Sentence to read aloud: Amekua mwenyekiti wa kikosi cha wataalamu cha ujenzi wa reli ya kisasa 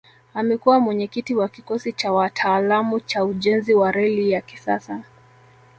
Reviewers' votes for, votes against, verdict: 1, 2, rejected